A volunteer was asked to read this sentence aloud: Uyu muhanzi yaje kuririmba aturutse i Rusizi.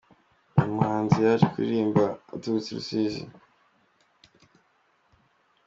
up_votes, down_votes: 2, 1